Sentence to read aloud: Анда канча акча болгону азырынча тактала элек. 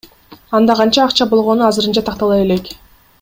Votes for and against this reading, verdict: 1, 2, rejected